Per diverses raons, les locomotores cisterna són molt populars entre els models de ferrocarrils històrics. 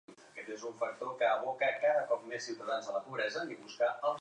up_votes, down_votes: 0, 2